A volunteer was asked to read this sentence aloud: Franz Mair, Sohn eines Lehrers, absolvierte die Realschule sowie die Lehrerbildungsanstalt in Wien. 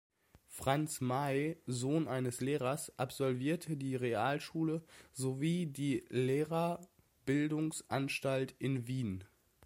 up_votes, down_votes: 1, 2